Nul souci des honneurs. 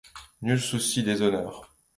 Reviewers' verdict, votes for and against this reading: accepted, 2, 0